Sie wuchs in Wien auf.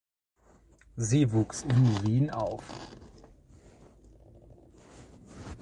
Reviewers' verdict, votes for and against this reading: rejected, 1, 2